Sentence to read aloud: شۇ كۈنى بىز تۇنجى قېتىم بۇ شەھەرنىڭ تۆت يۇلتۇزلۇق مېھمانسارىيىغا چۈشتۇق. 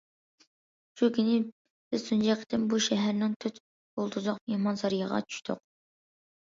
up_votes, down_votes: 2, 0